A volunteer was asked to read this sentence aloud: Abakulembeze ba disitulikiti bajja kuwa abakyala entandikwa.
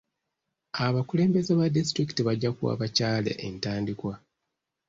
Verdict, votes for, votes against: accepted, 2, 0